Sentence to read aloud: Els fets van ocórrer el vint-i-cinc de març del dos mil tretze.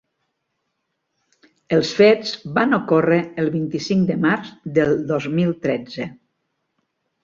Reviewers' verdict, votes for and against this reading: accepted, 3, 0